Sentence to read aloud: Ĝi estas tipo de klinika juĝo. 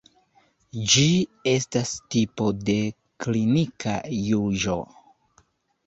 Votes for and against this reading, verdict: 1, 2, rejected